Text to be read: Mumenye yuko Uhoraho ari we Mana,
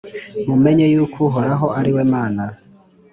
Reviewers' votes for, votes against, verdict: 3, 0, accepted